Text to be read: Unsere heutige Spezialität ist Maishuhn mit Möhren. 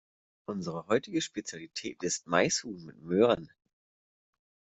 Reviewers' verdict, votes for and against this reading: accepted, 2, 0